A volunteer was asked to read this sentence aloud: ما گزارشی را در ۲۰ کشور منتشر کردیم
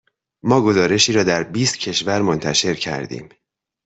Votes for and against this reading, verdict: 0, 2, rejected